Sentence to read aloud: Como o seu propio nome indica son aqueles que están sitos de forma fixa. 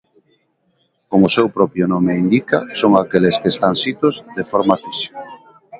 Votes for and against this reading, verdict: 0, 2, rejected